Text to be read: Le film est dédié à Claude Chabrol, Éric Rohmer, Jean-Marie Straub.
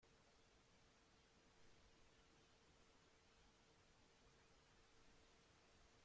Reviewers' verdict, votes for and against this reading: rejected, 0, 2